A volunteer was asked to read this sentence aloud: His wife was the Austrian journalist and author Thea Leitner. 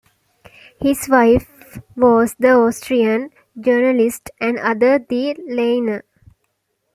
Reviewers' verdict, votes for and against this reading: rejected, 0, 2